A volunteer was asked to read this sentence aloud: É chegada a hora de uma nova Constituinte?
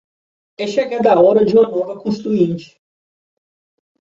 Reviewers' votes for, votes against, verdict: 1, 2, rejected